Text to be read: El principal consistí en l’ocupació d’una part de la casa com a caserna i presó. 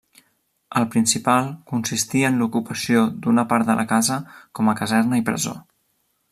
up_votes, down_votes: 1, 2